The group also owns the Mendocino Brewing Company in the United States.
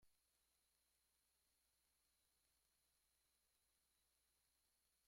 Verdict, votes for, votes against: rejected, 1, 2